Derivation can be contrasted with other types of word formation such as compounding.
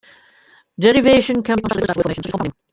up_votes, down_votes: 0, 2